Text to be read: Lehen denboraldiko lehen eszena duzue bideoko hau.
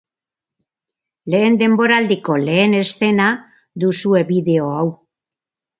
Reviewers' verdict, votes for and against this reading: rejected, 0, 3